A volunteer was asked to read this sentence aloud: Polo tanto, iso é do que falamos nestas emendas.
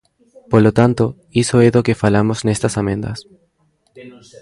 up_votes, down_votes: 1, 2